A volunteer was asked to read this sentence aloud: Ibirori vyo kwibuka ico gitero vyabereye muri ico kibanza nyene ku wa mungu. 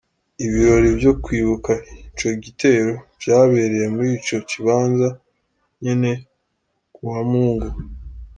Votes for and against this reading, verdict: 2, 1, accepted